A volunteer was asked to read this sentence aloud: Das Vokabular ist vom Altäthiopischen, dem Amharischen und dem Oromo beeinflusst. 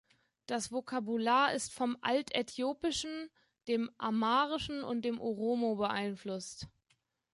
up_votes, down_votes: 2, 1